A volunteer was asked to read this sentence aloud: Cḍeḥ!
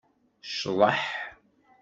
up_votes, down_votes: 2, 0